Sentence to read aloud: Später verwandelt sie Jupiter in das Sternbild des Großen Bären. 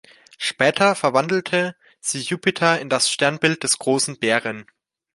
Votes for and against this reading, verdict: 0, 2, rejected